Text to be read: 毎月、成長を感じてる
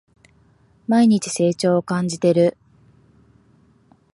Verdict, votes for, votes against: rejected, 3, 4